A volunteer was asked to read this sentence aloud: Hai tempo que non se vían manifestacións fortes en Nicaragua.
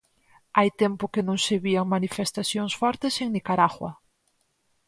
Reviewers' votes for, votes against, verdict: 4, 0, accepted